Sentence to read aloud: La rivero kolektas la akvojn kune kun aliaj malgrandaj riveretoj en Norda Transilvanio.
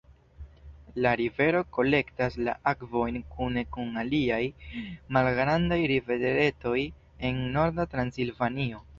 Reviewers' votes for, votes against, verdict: 2, 0, accepted